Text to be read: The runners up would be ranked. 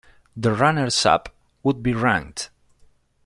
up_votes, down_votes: 0, 2